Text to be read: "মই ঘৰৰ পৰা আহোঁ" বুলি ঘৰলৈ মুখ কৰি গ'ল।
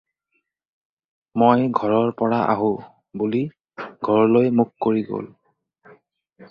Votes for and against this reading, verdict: 4, 0, accepted